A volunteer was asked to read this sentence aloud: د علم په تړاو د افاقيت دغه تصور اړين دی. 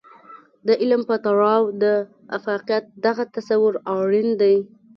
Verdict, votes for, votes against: accepted, 2, 0